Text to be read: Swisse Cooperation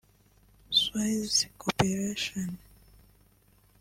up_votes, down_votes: 0, 2